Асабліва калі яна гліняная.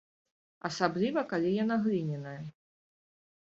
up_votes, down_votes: 1, 2